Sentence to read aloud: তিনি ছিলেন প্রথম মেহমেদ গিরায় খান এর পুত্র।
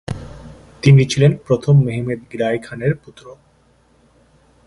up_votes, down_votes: 2, 0